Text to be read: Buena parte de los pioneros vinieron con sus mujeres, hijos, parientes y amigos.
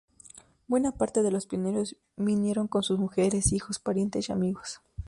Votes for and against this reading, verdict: 2, 0, accepted